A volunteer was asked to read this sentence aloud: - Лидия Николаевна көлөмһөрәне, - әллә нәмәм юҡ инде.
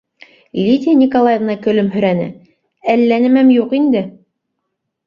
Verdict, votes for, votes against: accepted, 2, 0